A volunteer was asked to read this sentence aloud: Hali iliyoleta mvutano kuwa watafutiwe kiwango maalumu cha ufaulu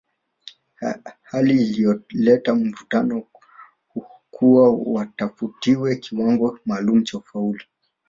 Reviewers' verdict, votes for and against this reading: rejected, 0, 2